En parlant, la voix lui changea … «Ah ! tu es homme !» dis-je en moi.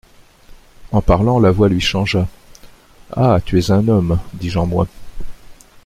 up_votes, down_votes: 2, 0